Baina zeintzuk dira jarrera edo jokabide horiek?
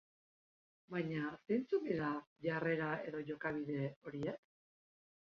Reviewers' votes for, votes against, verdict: 1, 2, rejected